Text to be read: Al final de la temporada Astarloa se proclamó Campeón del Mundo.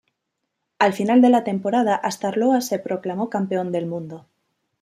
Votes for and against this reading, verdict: 3, 0, accepted